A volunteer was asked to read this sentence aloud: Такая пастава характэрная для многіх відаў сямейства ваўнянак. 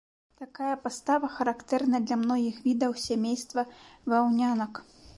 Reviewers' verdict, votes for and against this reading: accepted, 2, 0